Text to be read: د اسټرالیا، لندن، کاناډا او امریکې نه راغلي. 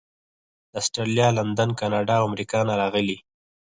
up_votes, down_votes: 0, 4